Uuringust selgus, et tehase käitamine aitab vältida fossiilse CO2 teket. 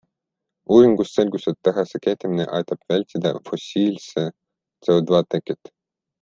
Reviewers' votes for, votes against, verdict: 0, 2, rejected